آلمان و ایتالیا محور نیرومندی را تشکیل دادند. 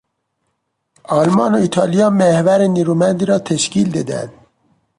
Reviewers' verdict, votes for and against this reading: rejected, 0, 2